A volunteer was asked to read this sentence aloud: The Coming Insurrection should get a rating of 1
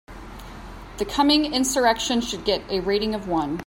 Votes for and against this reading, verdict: 0, 2, rejected